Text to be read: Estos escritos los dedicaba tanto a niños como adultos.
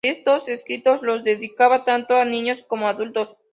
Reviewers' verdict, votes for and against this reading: accepted, 2, 0